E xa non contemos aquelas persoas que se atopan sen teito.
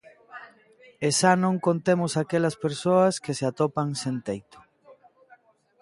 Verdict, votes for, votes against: accepted, 2, 0